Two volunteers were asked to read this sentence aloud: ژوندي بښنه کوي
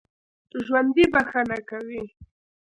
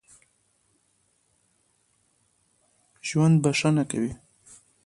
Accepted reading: second